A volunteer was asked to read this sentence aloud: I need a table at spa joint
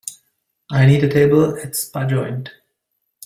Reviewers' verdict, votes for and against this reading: accepted, 2, 1